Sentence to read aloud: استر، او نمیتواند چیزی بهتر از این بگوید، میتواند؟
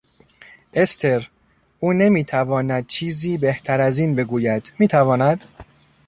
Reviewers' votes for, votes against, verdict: 2, 0, accepted